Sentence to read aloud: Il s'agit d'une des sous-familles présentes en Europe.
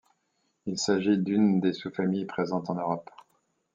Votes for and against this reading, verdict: 2, 0, accepted